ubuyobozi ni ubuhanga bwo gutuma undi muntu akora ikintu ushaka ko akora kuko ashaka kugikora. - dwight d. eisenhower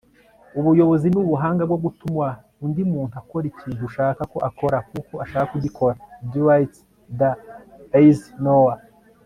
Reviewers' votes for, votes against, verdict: 3, 0, accepted